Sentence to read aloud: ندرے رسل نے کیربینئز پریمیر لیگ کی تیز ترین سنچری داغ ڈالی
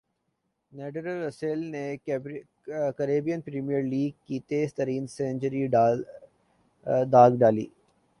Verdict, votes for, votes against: rejected, 1, 2